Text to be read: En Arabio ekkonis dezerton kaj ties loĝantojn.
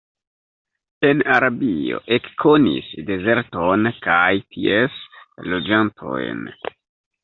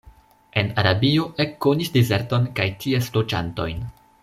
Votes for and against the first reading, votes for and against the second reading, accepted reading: 1, 2, 2, 0, second